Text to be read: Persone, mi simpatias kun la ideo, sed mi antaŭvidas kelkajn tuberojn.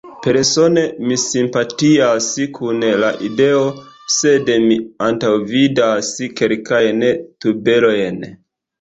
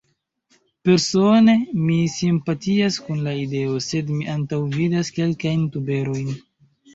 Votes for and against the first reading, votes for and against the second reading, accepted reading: 2, 0, 0, 2, first